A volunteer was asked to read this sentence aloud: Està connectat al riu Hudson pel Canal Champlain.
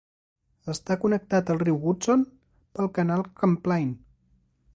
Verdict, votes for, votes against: rejected, 1, 2